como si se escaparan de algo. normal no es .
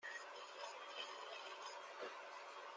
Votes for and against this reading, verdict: 0, 2, rejected